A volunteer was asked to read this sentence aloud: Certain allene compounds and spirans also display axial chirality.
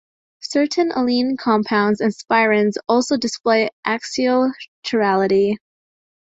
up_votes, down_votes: 2, 3